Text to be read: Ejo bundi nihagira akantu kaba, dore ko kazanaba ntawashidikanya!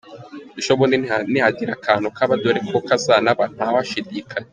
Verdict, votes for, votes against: rejected, 1, 3